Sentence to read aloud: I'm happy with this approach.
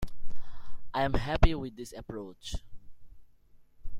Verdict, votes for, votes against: accepted, 2, 0